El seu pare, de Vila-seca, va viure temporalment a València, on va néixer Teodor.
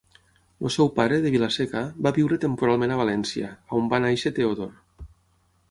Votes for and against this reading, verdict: 6, 0, accepted